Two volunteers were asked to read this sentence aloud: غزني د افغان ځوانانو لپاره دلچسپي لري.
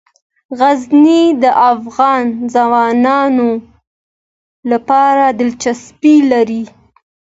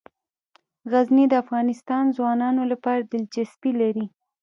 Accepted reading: first